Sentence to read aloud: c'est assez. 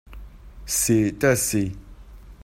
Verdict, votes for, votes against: rejected, 0, 2